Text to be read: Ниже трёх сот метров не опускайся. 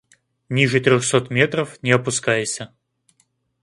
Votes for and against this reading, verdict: 2, 0, accepted